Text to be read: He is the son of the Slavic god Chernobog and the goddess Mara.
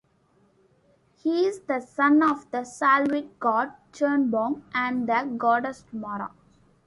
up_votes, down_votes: 2, 0